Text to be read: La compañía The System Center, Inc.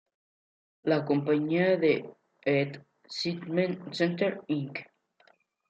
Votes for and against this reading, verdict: 1, 2, rejected